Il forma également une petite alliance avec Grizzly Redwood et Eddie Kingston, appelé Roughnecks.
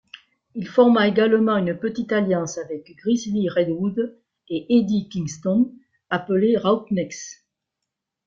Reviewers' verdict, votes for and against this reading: rejected, 0, 2